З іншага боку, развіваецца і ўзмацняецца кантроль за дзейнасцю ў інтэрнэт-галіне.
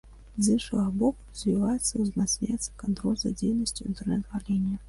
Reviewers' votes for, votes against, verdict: 0, 2, rejected